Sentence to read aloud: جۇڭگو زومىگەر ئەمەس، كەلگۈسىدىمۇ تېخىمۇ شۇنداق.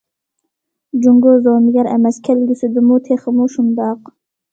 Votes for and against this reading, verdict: 2, 0, accepted